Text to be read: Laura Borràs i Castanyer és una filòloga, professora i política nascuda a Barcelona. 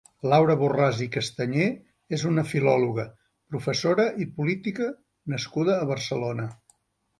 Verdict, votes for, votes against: accepted, 3, 0